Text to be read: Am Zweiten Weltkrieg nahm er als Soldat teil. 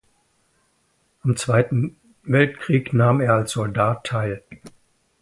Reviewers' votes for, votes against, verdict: 1, 2, rejected